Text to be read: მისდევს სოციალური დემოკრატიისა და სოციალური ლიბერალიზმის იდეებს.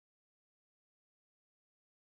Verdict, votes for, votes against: accepted, 2, 1